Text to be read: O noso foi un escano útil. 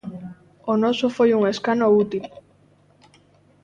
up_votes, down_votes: 3, 0